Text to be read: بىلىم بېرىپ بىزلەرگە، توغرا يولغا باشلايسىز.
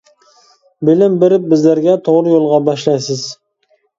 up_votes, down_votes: 2, 0